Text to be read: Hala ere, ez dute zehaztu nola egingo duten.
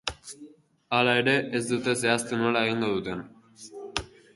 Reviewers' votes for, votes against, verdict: 0, 2, rejected